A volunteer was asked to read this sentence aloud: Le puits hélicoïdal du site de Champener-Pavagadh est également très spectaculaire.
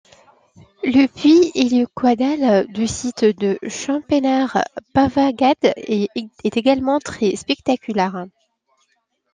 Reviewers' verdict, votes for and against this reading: rejected, 0, 2